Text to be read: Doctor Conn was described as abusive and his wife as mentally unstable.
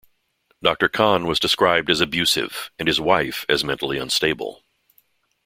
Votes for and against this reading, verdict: 2, 0, accepted